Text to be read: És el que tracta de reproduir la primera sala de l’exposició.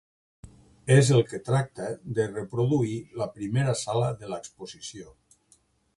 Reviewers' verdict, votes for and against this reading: accepted, 2, 0